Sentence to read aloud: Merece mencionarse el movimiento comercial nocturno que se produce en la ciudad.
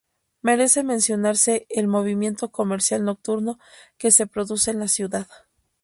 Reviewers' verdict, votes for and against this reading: accepted, 2, 0